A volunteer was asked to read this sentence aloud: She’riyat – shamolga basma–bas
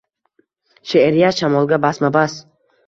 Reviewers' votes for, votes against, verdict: 2, 0, accepted